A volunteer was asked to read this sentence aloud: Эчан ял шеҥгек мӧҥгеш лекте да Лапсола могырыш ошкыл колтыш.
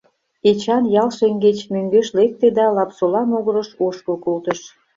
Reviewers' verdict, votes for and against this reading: rejected, 0, 2